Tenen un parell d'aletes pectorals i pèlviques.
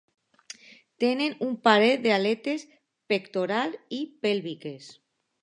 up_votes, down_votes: 2, 0